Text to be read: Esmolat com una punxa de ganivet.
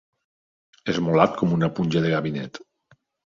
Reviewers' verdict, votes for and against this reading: rejected, 1, 2